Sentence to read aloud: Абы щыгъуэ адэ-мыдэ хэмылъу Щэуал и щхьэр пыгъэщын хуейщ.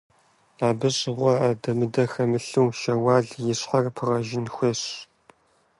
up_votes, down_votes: 0, 2